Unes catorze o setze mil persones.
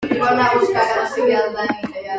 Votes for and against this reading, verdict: 0, 2, rejected